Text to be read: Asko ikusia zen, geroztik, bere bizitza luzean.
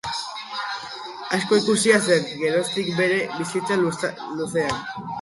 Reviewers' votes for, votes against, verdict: 2, 6, rejected